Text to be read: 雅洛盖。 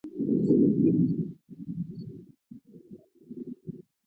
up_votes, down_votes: 0, 3